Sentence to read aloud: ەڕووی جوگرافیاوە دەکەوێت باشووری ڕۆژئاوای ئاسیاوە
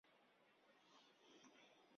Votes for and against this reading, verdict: 0, 2, rejected